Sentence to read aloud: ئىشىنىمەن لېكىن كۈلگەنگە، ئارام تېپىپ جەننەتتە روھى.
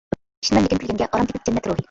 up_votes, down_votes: 0, 2